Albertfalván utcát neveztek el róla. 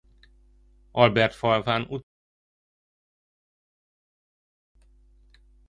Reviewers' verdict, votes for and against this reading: rejected, 0, 2